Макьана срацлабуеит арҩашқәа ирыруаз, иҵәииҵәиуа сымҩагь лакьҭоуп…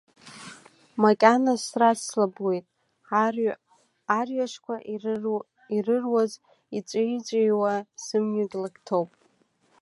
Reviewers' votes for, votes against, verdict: 0, 2, rejected